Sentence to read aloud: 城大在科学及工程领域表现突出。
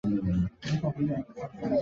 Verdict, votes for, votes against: rejected, 0, 3